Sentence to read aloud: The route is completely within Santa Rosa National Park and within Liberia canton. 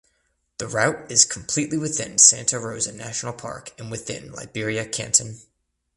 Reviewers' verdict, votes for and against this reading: accepted, 2, 0